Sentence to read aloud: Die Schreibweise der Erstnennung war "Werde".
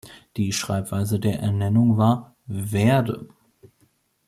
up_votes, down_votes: 0, 2